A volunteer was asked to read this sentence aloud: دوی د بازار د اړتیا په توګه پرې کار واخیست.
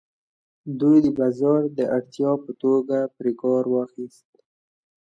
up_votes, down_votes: 2, 0